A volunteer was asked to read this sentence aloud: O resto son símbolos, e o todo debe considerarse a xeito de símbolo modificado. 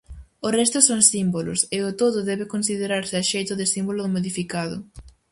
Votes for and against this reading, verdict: 4, 0, accepted